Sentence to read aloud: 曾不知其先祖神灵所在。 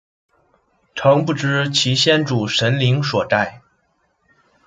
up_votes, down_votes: 0, 2